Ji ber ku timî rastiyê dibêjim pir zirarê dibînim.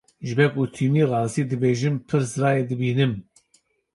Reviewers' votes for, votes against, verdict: 1, 2, rejected